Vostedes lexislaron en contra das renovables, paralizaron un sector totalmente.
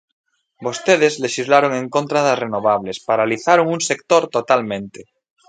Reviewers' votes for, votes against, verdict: 2, 1, accepted